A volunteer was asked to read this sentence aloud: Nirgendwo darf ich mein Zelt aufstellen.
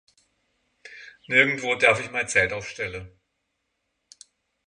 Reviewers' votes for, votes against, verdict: 3, 6, rejected